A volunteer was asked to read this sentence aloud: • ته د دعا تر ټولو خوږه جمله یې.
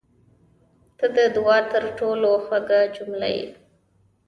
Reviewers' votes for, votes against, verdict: 0, 2, rejected